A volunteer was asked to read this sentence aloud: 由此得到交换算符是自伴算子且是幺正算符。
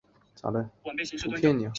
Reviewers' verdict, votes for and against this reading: rejected, 1, 3